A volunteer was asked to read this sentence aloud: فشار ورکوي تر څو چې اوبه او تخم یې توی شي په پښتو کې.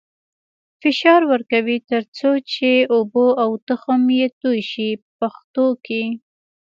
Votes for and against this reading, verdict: 2, 0, accepted